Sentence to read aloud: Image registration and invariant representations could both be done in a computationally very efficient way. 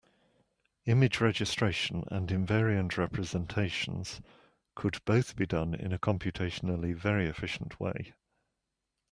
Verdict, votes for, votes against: accepted, 2, 0